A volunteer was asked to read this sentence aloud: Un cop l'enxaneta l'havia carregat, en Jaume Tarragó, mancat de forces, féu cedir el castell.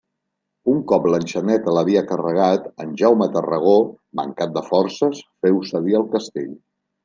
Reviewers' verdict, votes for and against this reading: accepted, 2, 0